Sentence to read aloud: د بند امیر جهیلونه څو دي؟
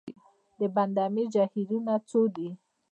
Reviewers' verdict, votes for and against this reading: rejected, 1, 2